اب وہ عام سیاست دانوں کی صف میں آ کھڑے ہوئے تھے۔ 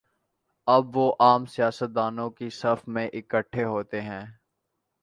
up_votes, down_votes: 1, 2